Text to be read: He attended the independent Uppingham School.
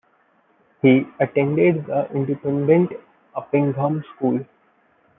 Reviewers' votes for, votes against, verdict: 1, 2, rejected